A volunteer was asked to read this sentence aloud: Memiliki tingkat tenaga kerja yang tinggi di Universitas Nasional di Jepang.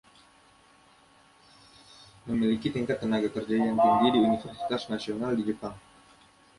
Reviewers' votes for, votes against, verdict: 1, 2, rejected